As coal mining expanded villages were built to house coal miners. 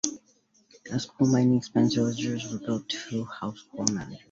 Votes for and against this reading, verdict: 2, 1, accepted